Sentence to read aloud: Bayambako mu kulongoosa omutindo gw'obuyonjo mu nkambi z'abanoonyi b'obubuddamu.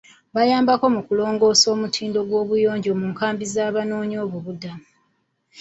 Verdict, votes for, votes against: rejected, 0, 2